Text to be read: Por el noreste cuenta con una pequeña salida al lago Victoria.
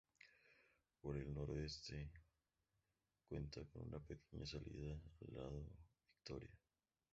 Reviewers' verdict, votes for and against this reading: rejected, 0, 2